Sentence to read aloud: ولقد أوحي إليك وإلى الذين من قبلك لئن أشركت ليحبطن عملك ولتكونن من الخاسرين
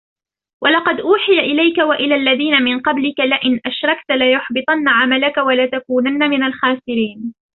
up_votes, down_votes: 1, 2